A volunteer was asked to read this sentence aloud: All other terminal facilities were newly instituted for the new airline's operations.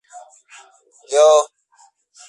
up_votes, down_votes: 0, 2